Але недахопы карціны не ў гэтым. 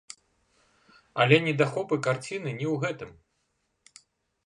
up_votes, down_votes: 1, 2